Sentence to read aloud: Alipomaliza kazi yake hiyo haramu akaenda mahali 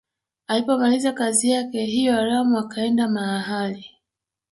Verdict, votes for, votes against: rejected, 1, 2